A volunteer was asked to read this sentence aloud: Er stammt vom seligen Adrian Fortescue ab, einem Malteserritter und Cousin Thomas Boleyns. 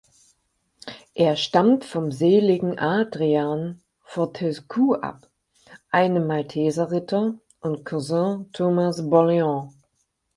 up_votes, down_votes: 4, 0